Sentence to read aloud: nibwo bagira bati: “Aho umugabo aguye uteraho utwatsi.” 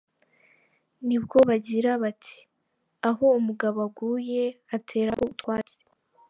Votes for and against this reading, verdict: 1, 2, rejected